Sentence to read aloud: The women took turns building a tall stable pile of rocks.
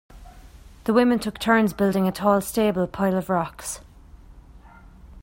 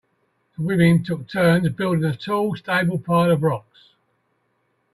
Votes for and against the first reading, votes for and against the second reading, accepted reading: 3, 0, 0, 2, first